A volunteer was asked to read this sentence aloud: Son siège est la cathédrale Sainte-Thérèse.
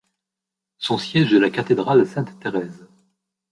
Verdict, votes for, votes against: accepted, 2, 1